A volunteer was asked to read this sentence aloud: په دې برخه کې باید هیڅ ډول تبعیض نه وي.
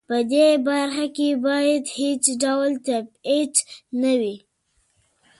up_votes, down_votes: 1, 2